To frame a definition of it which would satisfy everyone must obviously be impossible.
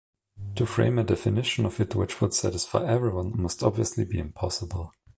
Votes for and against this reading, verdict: 2, 0, accepted